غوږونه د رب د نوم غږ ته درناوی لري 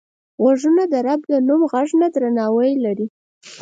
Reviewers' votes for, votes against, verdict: 4, 2, accepted